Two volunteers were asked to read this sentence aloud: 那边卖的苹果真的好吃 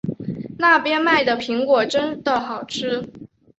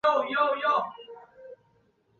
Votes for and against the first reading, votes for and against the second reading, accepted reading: 6, 0, 0, 2, first